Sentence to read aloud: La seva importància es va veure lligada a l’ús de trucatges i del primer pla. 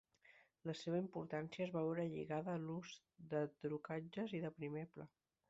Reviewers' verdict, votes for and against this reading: accepted, 2, 0